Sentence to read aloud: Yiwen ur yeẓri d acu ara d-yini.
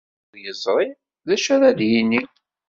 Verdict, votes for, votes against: rejected, 0, 2